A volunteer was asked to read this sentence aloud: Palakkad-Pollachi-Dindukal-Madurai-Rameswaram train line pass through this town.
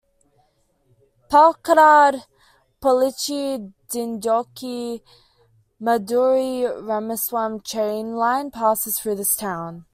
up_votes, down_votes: 2, 1